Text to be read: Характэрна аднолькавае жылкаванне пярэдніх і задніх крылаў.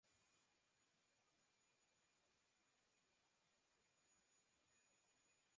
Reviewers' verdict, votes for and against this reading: rejected, 0, 2